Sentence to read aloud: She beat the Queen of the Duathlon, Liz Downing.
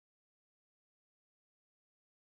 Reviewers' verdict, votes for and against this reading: rejected, 1, 2